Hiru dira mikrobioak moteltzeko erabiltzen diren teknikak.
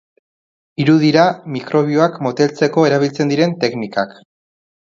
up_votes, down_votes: 3, 0